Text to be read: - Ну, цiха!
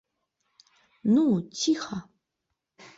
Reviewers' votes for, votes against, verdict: 2, 0, accepted